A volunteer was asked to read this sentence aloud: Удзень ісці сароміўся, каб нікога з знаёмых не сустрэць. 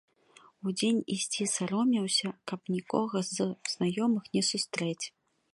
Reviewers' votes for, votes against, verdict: 1, 2, rejected